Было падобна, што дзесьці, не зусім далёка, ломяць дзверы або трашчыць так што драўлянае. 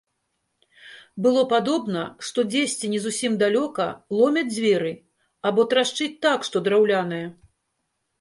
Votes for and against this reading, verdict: 2, 0, accepted